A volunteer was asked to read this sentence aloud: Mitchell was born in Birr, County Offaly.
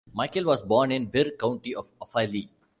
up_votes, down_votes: 0, 2